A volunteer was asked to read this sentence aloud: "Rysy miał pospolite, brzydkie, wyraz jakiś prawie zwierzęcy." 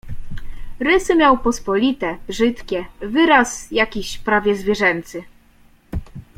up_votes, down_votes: 2, 0